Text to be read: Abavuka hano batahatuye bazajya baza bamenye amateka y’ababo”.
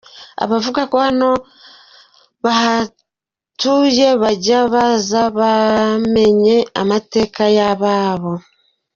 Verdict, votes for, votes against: rejected, 0, 2